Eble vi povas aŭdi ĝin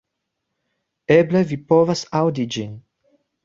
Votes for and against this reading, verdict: 3, 0, accepted